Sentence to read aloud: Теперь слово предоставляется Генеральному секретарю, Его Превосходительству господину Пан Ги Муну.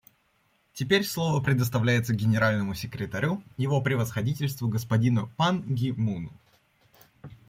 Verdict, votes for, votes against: accepted, 2, 0